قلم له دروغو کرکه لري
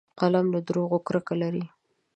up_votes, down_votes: 2, 0